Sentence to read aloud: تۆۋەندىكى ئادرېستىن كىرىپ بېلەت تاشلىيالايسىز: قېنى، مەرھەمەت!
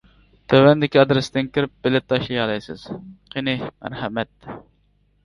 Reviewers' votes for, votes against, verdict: 2, 0, accepted